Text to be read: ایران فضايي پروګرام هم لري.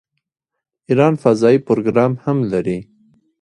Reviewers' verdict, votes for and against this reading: accepted, 2, 1